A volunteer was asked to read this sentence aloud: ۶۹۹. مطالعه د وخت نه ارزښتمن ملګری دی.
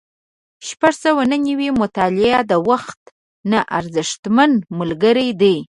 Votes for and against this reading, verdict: 0, 2, rejected